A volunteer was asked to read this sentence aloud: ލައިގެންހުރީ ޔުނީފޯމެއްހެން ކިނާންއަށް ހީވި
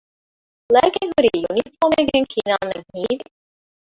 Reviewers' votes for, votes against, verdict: 1, 2, rejected